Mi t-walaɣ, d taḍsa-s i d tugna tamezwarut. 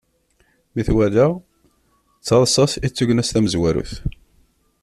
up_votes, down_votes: 1, 2